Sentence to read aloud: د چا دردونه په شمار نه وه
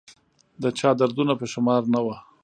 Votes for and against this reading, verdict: 0, 2, rejected